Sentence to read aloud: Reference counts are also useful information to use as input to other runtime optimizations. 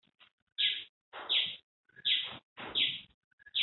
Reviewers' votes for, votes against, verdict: 0, 2, rejected